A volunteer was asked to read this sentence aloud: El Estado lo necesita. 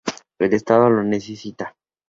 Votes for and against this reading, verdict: 2, 0, accepted